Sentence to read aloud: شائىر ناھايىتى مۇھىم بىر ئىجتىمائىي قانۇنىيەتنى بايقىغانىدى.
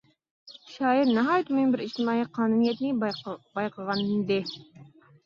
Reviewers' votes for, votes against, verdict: 0, 2, rejected